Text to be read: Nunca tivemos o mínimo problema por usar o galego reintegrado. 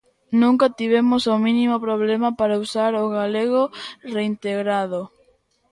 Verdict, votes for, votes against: rejected, 0, 2